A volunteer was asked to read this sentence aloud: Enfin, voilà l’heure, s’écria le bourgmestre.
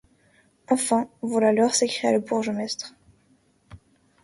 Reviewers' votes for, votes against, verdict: 0, 2, rejected